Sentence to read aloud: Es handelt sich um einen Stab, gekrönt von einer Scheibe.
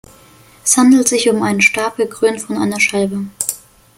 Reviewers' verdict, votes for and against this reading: accepted, 2, 0